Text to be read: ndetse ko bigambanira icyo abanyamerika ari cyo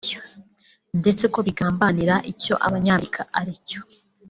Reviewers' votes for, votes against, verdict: 2, 1, accepted